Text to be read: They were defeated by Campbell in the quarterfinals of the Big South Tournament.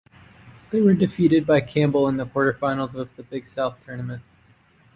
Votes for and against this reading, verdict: 2, 2, rejected